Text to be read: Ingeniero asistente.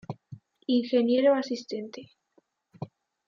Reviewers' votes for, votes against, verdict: 3, 1, accepted